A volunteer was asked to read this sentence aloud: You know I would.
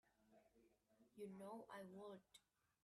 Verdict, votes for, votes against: rejected, 0, 2